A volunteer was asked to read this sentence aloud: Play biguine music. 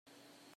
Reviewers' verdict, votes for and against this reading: rejected, 0, 3